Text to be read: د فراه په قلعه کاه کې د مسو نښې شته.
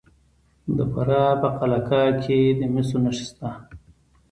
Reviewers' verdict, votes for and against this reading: accepted, 2, 1